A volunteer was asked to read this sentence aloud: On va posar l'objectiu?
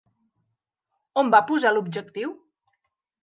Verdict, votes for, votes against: accepted, 3, 0